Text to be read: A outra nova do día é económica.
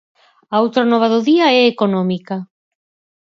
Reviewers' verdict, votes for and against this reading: accepted, 4, 0